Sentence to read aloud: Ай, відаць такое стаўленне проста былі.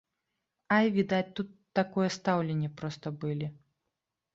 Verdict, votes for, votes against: rejected, 0, 2